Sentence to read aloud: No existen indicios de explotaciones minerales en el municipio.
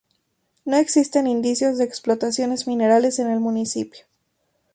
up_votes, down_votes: 2, 0